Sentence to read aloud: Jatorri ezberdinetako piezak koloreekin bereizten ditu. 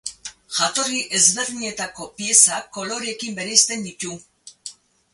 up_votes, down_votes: 8, 2